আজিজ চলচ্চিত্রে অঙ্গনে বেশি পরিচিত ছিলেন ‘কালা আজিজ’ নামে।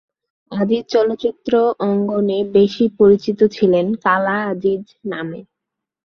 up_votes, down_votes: 6, 1